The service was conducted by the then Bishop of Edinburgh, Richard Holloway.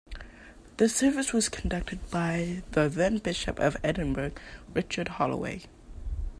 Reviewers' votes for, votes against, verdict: 3, 0, accepted